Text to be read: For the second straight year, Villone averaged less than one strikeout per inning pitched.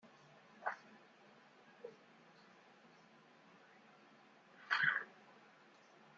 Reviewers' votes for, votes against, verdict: 0, 2, rejected